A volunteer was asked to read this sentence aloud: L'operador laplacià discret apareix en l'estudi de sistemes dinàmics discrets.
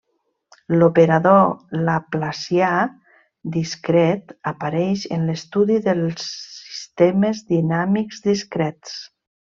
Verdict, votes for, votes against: rejected, 0, 2